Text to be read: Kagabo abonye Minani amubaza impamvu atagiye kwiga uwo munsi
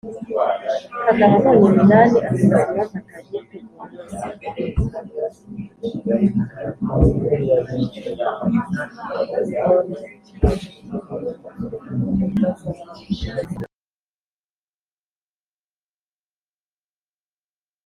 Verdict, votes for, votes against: rejected, 0, 2